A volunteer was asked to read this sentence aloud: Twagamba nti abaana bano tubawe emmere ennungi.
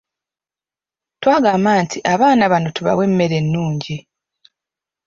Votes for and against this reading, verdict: 2, 0, accepted